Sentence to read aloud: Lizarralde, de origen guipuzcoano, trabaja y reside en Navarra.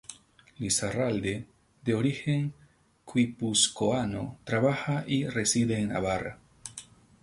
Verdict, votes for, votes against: rejected, 2, 4